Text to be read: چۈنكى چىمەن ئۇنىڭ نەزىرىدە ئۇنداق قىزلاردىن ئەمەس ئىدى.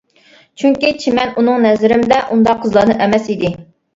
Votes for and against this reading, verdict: 0, 2, rejected